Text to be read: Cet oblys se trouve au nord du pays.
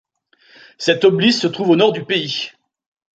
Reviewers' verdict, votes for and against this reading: accepted, 2, 1